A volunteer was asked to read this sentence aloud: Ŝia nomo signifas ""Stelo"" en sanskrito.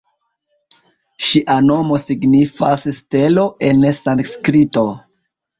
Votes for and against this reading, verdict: 1, 2, rejected